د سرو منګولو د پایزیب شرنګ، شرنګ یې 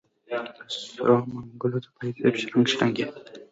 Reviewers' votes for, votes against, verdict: 1, 2, rejected